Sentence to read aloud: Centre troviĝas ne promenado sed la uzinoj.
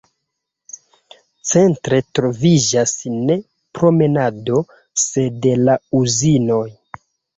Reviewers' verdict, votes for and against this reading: rejected, 1, 2